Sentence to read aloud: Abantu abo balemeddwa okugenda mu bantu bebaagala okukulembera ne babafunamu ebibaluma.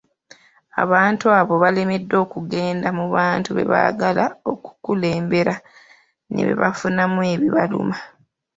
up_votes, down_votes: 2, 0